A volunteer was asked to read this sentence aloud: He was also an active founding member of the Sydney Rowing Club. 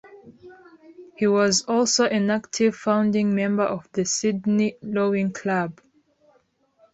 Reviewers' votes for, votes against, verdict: 0, 2, rejected